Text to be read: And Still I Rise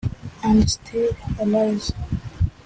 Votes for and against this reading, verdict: 0, 2, rejected